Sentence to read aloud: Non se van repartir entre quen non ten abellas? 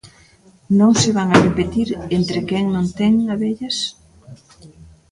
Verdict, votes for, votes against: rejected, 0, 2